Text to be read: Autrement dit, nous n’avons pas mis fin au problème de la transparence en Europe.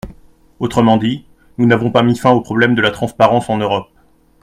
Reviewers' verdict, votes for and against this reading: accepted, 2, 0